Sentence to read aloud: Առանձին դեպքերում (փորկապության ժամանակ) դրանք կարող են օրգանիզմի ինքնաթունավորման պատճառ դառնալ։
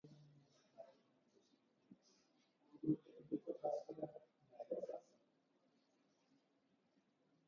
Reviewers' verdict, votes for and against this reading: rejected, 0, 2